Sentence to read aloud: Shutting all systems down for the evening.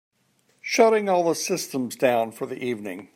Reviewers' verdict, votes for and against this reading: rejected, 1, 2